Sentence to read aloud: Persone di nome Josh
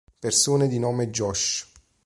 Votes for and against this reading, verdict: 2, 0, accepted